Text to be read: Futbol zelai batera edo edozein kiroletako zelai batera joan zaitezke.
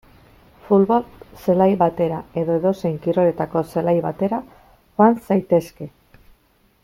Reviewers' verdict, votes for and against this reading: rejected, 1, 3